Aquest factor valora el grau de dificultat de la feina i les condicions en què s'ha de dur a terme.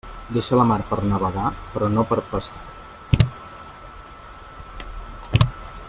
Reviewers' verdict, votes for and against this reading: rejected, 0, 2